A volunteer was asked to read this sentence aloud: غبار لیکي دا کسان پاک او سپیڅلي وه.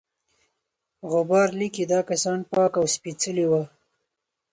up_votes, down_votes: 4, 0